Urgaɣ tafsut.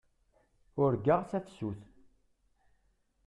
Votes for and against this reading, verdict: 1, 2, rejected